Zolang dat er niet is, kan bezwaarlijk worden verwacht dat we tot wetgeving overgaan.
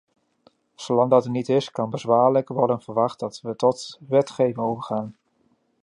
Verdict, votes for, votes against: rejected, 0, 2